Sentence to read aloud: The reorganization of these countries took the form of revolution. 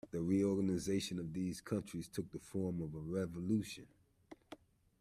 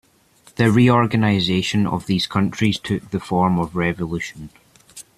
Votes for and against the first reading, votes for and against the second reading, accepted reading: 1, 2, 2, 0, second